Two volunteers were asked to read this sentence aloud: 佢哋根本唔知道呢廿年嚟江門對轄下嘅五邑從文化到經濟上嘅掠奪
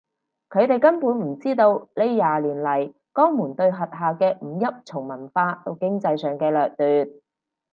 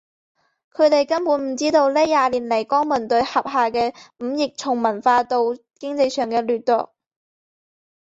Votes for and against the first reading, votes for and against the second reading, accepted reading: 4, 0, 0, 2, first